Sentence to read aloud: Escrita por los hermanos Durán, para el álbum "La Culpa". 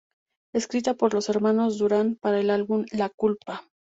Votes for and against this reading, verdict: 2, 0, accepted